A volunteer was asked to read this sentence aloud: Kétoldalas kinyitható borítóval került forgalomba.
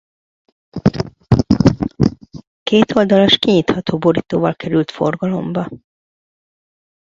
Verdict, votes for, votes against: rejected, 1, 2